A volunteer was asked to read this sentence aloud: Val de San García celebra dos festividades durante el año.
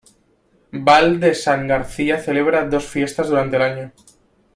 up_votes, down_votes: 1, 2